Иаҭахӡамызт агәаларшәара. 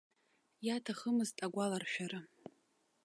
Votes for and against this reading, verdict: 1, 2, rejected